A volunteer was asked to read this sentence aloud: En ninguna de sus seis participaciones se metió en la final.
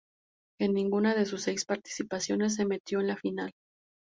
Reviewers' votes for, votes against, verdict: 2, 0, accepted